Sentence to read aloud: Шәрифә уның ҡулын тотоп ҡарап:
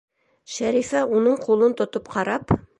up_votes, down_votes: 2, 0